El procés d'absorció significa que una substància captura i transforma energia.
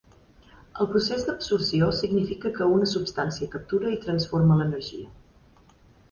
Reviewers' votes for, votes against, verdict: 1, 2, rejected